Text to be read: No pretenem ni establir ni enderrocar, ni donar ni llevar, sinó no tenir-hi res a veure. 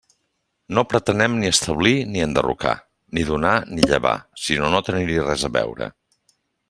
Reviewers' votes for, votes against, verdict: 3, 1, accepted